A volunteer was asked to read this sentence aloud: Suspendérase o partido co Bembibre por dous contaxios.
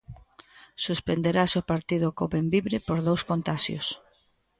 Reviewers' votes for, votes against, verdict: 1, 2, rejected